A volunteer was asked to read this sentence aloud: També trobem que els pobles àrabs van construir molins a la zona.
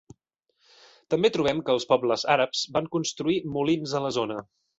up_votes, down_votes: 2, 0